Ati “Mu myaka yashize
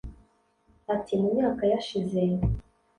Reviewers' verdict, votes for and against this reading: accepted, 2, 0